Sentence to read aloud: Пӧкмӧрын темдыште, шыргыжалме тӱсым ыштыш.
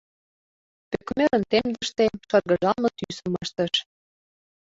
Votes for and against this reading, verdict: 0, 2, rejected